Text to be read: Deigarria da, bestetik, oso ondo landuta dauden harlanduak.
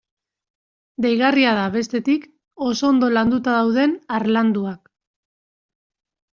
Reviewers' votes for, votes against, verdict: 1, 2, rejected